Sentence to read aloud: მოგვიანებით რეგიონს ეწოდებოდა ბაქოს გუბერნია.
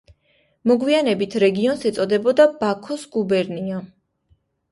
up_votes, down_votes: 2, 0